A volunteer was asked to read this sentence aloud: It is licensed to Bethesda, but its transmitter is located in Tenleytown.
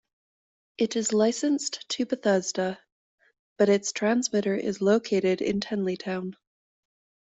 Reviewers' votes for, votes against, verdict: 2, 0, accepted